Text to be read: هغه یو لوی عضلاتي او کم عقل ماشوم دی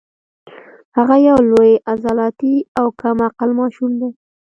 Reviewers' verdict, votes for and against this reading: rejected, 1, 2